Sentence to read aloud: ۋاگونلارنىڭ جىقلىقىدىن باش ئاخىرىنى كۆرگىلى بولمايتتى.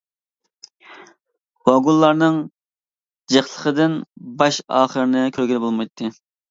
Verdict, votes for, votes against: accepted, 2, 0